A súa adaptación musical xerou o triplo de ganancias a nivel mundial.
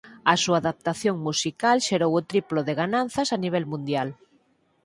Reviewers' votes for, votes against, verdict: 0, 4, rejected